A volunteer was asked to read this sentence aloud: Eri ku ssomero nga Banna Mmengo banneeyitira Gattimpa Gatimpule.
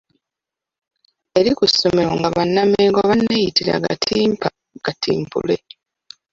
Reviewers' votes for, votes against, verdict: 0, 2, rejected